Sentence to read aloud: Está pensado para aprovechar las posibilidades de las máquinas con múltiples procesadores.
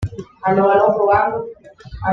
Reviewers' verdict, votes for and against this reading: rejected, 1, 2